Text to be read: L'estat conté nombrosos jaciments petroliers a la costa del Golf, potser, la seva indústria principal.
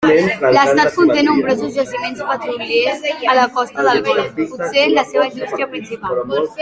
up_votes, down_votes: 0, 2